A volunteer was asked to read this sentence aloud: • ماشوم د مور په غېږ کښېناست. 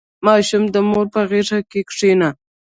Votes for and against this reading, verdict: 1, 2, rejected